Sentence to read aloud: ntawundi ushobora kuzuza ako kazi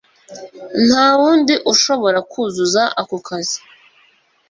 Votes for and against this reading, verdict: 2, 0, accepted